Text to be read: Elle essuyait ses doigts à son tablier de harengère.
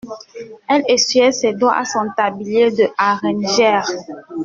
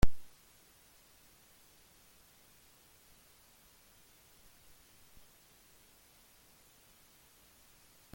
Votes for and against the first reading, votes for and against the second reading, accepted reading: 2, 0, 0, 2, first